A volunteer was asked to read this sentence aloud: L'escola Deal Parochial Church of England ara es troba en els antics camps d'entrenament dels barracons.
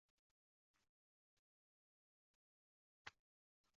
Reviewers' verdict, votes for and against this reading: rejected, 0, 2